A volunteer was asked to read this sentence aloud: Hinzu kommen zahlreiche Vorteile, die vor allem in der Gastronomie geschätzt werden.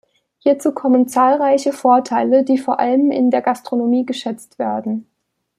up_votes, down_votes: 1, 2